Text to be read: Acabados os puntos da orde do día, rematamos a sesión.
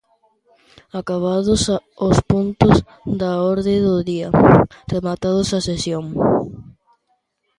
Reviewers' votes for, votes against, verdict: 0, 2, rejected